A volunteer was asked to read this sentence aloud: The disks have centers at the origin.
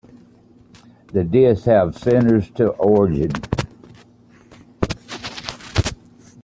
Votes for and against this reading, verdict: 0, 2, rejected